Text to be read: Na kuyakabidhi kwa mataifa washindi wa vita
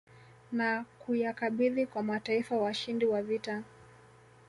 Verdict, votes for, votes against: accepted, 2, 0